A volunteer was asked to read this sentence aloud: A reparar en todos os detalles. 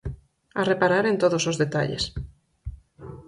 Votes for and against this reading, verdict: 4, 0, accepted